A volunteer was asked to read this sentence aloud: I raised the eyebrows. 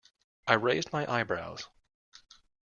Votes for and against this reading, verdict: 0, 2, rejected